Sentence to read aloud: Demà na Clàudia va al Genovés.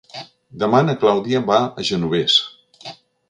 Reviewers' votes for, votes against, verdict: 0, 2, rejected